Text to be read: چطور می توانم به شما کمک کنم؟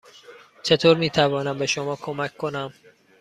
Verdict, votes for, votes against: accepted, 2, 0